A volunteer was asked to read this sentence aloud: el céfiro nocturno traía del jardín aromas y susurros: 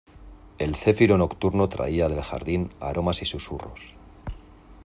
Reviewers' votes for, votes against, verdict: 2, 0, accepted